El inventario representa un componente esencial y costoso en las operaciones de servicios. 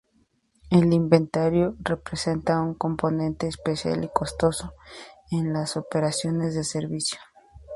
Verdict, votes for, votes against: rejected, 0, 2